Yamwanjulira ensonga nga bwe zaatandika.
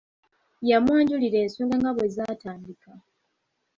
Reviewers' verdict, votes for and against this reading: accepted, 2, 0